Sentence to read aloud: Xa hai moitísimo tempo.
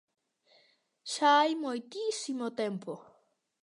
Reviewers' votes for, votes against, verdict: 2, 0, accepted